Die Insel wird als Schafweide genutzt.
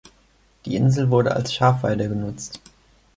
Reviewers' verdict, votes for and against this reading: rejected, 0, 2